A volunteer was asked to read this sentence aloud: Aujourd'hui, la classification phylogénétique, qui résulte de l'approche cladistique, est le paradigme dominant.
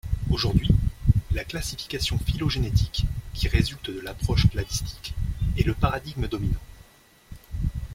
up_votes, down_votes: 2, 0